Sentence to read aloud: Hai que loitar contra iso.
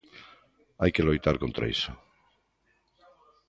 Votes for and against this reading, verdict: 2, 0, accepted